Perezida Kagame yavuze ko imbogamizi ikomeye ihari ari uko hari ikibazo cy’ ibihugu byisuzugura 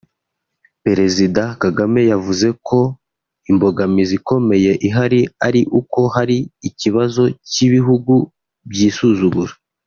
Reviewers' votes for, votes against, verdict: 2, 0, accepted